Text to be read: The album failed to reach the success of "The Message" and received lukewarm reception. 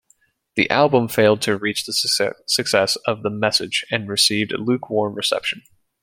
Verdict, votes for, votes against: rejected, 1, 2